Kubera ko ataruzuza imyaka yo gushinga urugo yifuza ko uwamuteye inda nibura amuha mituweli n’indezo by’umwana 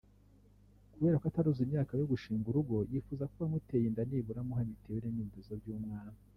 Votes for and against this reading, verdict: 2, 0, accepted